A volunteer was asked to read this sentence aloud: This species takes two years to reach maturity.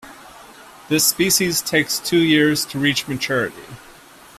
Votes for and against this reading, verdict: 2, 0, accepted